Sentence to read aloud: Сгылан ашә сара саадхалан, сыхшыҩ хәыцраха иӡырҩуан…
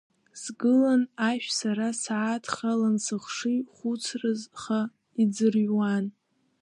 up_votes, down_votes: 0, 2